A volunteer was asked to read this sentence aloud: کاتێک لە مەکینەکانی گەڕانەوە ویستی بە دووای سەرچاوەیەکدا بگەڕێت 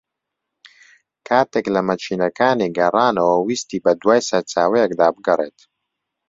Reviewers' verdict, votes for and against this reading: accepted, 2, 0